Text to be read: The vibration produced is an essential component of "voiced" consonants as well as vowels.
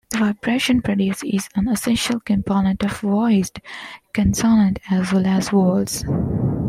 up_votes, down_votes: 1, 2